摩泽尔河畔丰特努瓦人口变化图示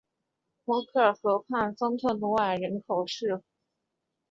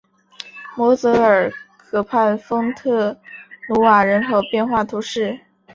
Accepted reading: second